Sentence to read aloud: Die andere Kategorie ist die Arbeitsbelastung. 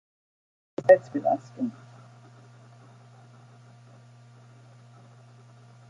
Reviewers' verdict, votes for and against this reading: rejected, 0, 2